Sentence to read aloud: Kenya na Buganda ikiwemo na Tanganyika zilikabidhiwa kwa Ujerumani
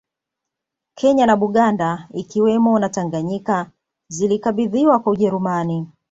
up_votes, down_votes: 2, 0